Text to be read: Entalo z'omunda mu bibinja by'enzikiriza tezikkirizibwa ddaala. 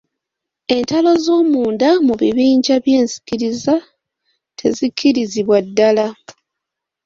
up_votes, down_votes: 0, 2